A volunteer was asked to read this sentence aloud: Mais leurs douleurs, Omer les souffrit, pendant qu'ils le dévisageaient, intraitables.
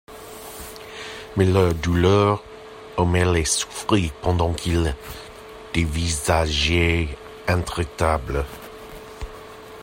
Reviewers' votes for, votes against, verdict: 0, 2, rejected